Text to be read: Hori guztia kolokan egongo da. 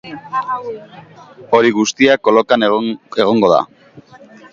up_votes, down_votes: 1, 2